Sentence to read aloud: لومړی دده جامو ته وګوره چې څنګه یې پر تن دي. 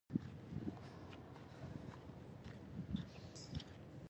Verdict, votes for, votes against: rejected, 1, 2